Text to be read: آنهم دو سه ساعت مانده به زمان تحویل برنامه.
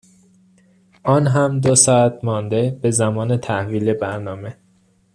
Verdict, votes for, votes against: rejected, 1, 2